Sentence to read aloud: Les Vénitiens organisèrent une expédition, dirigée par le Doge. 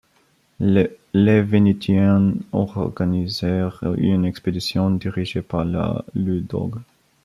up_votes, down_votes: 0, 2